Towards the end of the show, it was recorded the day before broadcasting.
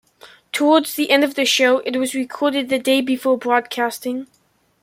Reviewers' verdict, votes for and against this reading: accepted, 2, 0